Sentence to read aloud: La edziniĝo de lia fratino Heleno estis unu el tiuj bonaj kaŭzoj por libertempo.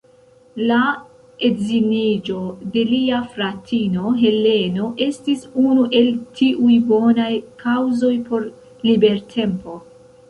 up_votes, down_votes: 0, 2